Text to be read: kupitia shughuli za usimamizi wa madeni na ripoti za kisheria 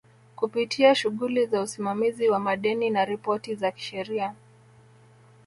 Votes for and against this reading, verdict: 2, 0, accepted